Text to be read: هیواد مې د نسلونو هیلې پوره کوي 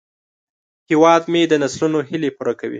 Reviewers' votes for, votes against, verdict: 2, 0, accepted